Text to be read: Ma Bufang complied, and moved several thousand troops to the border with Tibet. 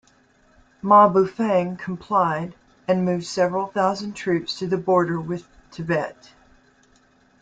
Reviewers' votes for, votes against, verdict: 2, 0, accepted